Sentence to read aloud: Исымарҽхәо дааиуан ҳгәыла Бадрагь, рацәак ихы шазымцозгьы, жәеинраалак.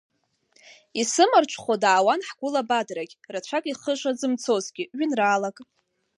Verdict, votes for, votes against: rejected, 1, 2